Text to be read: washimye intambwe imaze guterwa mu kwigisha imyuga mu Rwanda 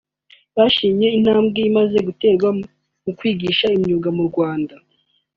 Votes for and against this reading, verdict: 3, 0, accepted